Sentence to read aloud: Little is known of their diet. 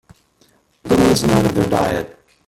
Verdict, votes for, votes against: rejected, 1, 2